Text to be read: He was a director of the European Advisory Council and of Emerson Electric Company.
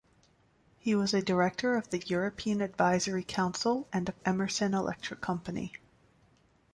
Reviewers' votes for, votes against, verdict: 2, 0, accepted